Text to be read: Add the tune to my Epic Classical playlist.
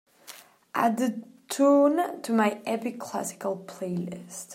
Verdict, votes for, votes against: accepted, 2, 0